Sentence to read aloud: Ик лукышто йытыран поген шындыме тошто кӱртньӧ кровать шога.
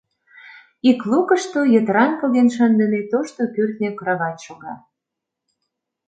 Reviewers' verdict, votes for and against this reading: accepted, 2, 0